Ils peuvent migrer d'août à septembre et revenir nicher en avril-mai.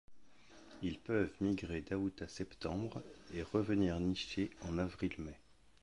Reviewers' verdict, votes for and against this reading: accepted, 2, 0